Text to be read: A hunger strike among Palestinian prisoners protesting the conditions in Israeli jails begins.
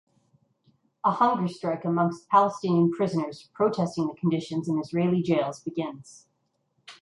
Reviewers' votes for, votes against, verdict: 1, 2, rejected